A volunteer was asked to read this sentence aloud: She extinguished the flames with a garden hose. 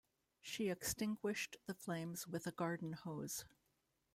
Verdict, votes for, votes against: rejected, 1, 2